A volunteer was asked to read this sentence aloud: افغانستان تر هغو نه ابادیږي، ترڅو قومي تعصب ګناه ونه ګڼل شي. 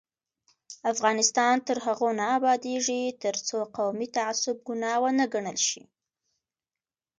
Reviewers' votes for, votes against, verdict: 3, 0, accepted